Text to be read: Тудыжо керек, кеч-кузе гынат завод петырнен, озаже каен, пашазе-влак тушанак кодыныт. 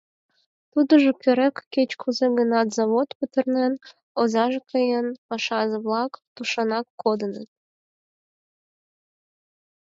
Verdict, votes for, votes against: accepted, 6, 0